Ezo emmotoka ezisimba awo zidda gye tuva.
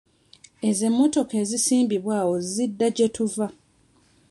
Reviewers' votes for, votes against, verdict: 0, 2, rejected